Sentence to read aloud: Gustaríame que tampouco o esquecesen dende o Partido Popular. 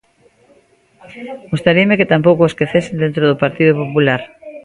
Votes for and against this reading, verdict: 0, 2, rejected